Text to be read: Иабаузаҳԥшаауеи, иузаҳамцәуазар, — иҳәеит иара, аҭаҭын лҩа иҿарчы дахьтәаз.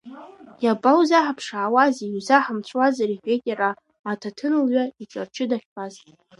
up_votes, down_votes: 2, 0